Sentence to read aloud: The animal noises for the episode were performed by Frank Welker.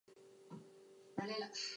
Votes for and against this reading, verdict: 0, 2, rejected